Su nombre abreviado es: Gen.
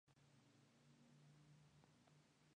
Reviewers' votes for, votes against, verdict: 0, 4, rejected